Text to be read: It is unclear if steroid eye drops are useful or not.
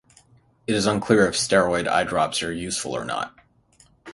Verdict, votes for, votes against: accepted, 3, 0